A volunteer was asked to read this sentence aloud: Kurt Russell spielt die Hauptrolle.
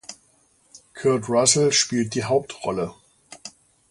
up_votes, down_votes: 2, 0